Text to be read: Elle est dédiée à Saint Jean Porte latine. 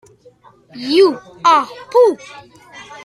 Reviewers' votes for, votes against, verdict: 0, 2, rejected